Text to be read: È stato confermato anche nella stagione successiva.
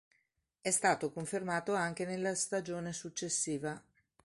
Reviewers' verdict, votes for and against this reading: accepted, 4, 0